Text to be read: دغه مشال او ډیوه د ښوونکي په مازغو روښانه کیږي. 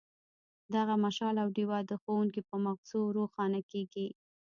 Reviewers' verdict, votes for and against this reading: rejected, 1, 2